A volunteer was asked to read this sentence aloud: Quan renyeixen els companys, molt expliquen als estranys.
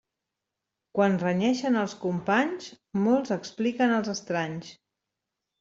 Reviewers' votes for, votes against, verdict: 1, 2, rejected